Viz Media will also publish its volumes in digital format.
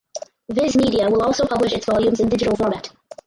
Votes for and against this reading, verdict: 0, 4, rejected